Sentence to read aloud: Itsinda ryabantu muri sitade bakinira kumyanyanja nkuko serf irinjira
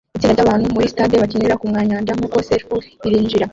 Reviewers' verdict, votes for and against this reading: rejected, 0, 2